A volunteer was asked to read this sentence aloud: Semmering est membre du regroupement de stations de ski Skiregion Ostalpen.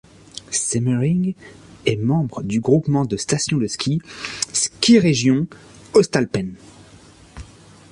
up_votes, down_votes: 0, 2